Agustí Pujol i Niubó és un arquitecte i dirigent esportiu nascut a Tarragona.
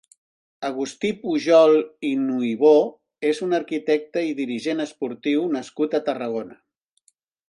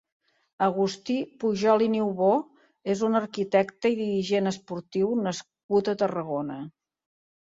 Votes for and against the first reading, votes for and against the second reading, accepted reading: 2, 3, 2, 0, second